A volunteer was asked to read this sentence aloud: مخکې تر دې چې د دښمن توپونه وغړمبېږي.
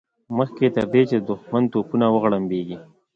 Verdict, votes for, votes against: accepted, 2, 0